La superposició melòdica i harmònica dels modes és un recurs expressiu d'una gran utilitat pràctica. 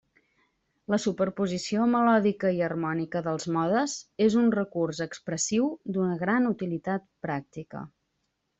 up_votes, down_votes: 3, 0